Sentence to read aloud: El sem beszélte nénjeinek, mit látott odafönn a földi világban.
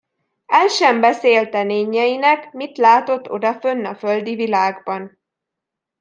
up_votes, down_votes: 2, 0